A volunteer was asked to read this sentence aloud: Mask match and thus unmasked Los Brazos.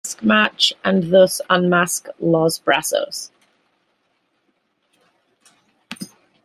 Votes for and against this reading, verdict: 0, 2, rejected